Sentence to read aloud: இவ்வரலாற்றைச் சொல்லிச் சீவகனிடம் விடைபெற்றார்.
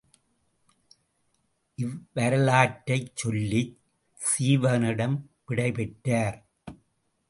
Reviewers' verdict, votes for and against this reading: rejected, 0, 2